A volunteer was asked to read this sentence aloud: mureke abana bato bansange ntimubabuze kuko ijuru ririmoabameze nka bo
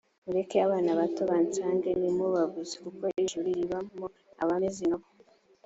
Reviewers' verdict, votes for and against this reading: accepted, 3, 0